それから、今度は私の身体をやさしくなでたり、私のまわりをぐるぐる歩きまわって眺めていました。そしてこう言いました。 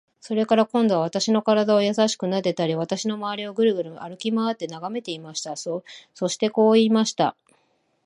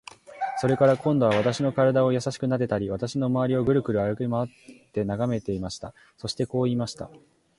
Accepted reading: second